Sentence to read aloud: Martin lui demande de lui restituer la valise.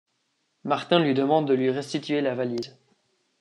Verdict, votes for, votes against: accepted, 2, 0